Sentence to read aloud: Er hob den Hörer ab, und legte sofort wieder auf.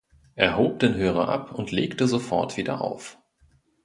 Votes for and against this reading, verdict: 2, 0, accepted